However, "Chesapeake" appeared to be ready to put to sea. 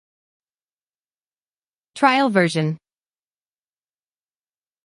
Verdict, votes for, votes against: rejected, 0, 2